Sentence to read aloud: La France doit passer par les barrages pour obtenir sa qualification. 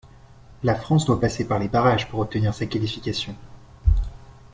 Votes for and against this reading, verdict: 2, 0, accepted